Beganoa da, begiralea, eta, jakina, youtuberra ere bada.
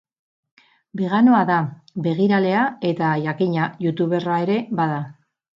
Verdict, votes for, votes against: accepted, 8, 0